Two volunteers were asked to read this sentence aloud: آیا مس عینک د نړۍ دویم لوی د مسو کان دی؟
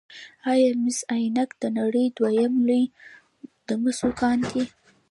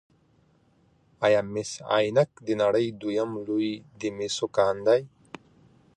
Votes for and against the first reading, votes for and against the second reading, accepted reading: 0, 2, 2, 1, second